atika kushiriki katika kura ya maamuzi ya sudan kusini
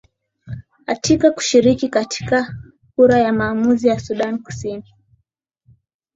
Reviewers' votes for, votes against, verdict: 7, 5, accepted